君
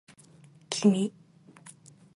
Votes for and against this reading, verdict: 2, 1, accepted